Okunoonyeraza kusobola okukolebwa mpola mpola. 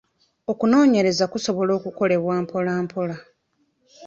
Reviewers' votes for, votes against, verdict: 0, 2, rejected